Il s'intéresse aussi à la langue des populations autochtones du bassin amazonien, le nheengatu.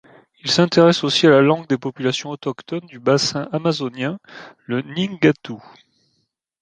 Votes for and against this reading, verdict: 2, 0, accepted